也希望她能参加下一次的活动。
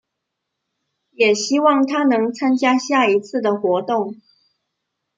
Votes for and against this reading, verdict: 0, 2, rejected